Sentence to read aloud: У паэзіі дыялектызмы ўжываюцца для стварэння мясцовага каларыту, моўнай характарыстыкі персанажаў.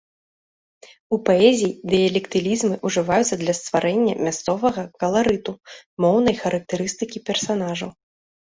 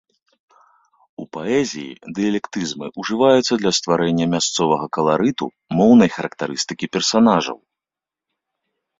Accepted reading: second